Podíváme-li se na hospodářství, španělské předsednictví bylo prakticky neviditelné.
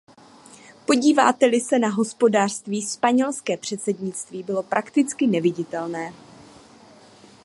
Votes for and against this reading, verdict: 0, 2, rejected